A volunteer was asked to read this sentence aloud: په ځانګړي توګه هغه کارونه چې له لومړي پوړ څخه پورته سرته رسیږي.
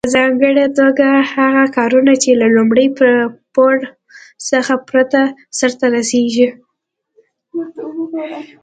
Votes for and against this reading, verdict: 2, 0, accepted